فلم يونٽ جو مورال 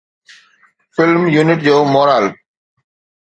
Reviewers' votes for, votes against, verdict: 2, 0, accepted